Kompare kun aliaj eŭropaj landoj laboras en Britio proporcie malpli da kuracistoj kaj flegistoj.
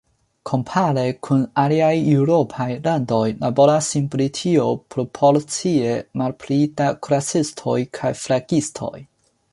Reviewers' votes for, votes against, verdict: 4, 2, accepted